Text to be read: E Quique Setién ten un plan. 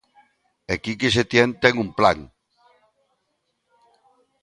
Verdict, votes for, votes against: accepted, 2, 0